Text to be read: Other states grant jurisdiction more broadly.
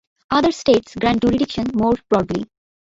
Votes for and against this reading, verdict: 0, 2, rejected